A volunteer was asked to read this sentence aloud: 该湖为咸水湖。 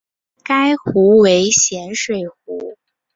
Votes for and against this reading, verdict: 2, 0, accepted